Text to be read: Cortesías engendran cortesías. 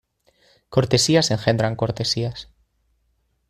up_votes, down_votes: 2, 0